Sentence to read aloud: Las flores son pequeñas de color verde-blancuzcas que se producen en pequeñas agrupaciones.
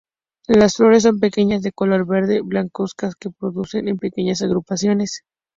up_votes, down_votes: 0, 2